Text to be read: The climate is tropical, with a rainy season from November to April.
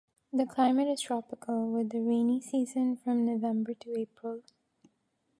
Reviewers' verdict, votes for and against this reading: accepted, 3, 0